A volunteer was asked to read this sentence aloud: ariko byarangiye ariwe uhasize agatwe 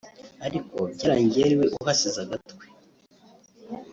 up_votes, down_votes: 1, 2